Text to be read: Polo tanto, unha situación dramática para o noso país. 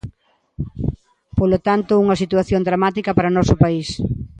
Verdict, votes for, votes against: accepted, 2, 0